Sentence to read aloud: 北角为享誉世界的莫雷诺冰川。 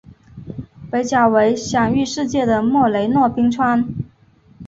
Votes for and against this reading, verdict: 4, 0, accepted